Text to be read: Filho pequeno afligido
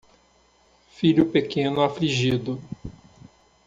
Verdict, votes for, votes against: accepted, 2, 0